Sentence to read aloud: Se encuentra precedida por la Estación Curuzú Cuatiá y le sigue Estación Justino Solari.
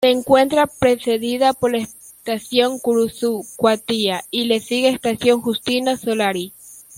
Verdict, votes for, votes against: rejected, 0, 2